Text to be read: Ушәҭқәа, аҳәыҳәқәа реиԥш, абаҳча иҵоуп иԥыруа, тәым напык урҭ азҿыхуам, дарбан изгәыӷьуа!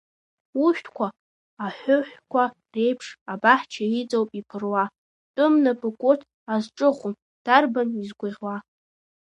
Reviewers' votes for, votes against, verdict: 2, 0, accepted